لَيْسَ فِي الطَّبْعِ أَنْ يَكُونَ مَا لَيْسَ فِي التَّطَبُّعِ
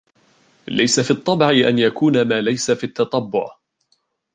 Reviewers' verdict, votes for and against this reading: rejected, 0, 2